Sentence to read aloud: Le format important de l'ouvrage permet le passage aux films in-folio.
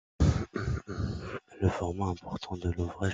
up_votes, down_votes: 0, 2